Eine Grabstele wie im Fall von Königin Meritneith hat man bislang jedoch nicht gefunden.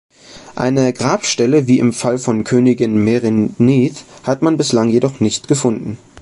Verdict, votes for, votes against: rejected, 0, 2